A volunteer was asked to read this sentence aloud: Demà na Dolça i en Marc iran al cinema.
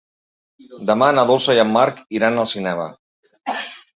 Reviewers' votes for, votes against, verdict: 3, 1, accepted